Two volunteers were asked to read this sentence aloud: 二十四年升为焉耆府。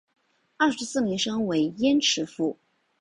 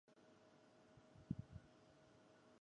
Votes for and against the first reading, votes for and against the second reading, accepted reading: 3, 1, 0, 4, first